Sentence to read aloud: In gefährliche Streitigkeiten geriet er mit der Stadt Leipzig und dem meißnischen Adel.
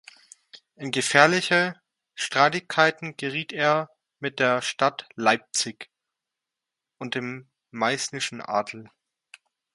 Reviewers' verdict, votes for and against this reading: accepted, 2, 0